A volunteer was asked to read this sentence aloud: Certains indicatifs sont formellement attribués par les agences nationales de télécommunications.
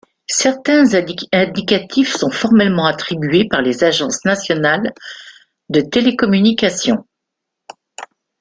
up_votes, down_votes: 1, 2